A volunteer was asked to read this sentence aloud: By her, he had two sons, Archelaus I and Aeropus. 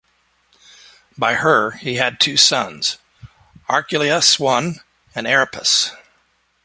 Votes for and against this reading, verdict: 2, 0, accepted